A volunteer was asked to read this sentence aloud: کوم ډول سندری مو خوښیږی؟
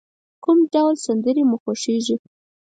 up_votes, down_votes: 4, 0